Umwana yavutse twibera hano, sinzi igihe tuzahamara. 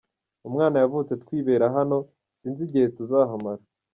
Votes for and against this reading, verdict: 2, 0, accepted